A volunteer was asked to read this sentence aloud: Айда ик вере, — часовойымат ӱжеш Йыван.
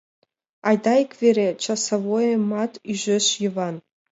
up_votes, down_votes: 2, 0